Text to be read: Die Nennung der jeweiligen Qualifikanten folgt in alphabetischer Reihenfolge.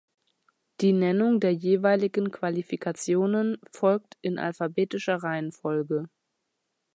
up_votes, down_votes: 0, 2